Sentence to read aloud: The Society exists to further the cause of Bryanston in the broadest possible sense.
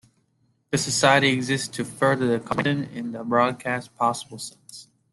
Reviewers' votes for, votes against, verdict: 0, 2, rejected